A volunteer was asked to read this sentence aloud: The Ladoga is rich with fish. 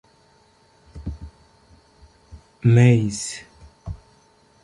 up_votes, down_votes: 0, 2